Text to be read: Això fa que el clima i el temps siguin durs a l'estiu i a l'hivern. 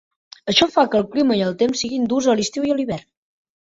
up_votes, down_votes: 4, 0